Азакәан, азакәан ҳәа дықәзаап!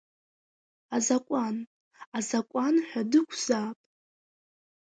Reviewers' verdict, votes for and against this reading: accepted, 2, 1